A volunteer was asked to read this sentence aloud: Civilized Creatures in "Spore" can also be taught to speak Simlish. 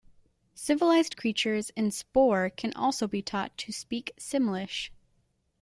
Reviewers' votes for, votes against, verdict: 2, 0, accepted